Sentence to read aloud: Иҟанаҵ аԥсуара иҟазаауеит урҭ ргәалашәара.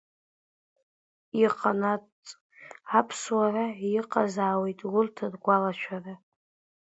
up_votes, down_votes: 1, 2